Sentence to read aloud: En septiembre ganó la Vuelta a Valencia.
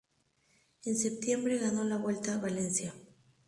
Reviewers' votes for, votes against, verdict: 2, 0, accepted